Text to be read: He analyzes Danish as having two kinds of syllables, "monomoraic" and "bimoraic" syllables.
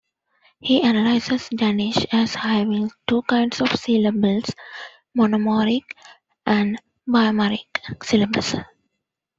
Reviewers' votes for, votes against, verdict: 2, 1, accepted